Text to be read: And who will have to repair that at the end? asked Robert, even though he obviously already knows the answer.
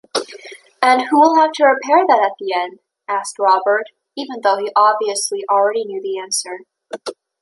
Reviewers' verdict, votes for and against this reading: rejected, 0, 2